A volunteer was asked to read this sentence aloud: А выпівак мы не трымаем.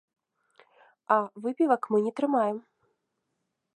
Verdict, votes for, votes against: accepted, 2, 0